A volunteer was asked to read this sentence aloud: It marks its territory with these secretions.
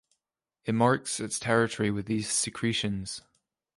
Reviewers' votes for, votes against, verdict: 2, 0, accepted